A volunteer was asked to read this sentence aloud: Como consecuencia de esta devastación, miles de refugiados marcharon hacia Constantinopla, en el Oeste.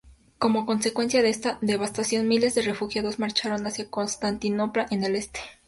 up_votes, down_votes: 2, 0